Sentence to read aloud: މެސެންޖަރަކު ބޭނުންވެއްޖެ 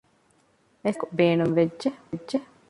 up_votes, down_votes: 0, 2